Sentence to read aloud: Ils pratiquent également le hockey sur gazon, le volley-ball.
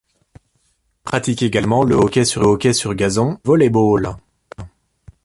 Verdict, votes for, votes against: rejected, 0, 2